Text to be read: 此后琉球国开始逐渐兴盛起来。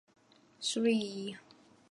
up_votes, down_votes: 0, 2